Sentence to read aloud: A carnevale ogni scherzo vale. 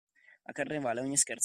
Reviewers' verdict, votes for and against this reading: rejected, 0, 2